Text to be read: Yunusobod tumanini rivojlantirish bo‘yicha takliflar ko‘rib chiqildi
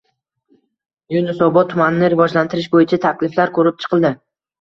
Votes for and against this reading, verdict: 2, 0, accepted